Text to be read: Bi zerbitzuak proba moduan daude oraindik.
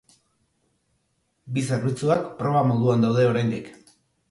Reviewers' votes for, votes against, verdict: 3, 0, accepted